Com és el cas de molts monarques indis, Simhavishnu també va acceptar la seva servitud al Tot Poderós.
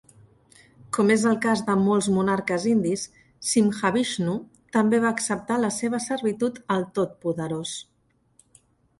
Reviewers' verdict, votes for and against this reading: accepted, 2, 0